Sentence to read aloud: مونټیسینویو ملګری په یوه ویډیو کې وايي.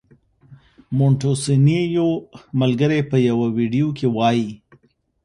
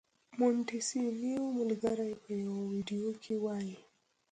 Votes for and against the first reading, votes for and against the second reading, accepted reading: 2, 0, 0, 2, first